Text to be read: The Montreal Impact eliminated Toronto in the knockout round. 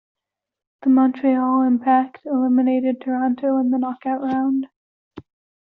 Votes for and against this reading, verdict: 1, 2, rejected